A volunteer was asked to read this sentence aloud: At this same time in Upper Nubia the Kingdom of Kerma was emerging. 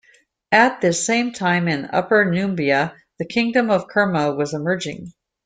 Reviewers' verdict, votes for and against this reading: accepted, 2, 0